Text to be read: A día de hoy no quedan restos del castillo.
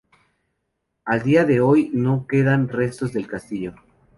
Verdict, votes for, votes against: accepted, 2, 0